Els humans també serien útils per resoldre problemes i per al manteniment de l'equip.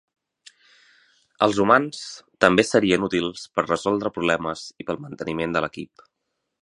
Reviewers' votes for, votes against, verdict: 6, 0, accepted